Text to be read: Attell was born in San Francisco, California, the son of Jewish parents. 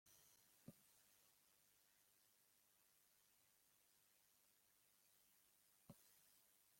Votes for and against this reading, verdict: 0, 2, rejected